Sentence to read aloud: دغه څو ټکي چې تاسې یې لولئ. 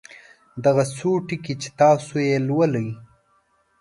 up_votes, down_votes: 2, 0